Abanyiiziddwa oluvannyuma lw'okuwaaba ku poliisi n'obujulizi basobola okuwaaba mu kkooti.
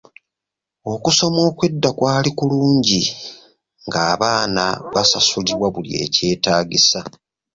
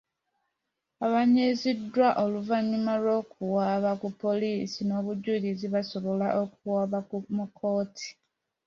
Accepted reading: second